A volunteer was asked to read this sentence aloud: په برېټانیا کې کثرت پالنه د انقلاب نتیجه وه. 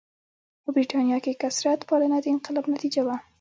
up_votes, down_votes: 1, 2